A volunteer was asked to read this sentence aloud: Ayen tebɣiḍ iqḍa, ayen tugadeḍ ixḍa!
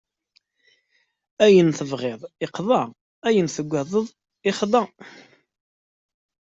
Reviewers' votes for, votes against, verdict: 2, 0, accepted